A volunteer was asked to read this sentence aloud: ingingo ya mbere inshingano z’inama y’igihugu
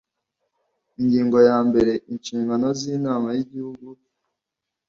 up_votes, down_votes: 2, 0